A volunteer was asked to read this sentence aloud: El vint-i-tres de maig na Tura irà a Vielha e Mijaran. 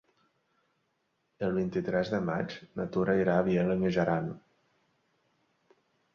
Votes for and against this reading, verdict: 2, 1, accepted